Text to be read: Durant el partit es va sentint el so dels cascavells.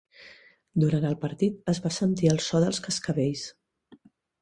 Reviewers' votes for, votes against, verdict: 0, 2, rejected